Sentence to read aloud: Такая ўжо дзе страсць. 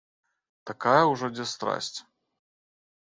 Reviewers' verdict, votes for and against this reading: accepted, 2, 0